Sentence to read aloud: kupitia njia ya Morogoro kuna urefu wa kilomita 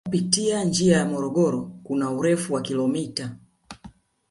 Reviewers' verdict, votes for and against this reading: rejected, 1, 2